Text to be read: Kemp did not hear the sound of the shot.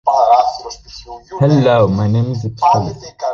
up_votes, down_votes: 0, 2